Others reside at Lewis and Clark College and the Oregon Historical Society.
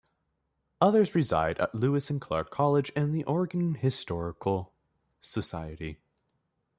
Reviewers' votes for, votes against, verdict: 2, 0, accepted